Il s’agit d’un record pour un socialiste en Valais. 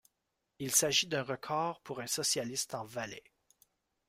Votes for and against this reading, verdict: 2, 0, accepted